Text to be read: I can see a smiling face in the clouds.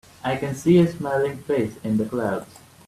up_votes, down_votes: 2, 0